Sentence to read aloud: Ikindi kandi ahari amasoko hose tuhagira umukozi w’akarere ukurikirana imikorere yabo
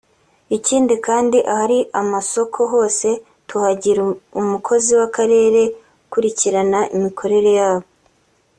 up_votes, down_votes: 2, 0